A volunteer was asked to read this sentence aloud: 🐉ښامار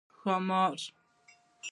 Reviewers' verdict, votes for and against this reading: accepted, 2, 0